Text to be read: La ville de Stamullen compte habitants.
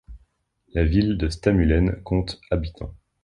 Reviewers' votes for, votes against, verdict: 2, 0, accepted